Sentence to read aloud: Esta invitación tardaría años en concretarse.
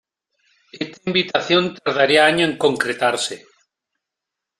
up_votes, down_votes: 0, 2